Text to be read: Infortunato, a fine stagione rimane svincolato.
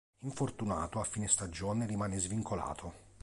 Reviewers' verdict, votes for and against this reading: accepted, 3, 0